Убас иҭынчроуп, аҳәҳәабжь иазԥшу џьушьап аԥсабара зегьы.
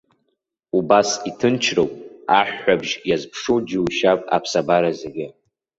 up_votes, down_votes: 2, 0